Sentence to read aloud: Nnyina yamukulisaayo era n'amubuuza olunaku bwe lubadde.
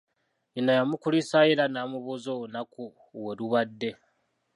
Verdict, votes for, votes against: rejected, 1, 2